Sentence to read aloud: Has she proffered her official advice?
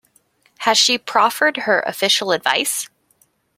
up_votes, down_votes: 2, 0